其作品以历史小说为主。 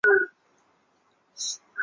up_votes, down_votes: 2, 4